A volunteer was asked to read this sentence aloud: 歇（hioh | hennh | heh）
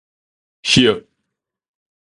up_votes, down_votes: 0, 2